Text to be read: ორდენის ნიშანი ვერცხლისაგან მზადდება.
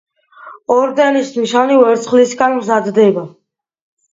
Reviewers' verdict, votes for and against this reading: accepted, 2, 0